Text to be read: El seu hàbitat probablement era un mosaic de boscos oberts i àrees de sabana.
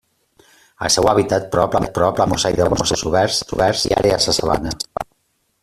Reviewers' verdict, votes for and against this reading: rejected, 0, 2